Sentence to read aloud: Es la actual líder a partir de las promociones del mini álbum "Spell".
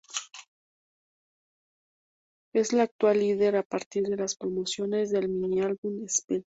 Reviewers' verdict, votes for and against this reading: rejected, 0, 2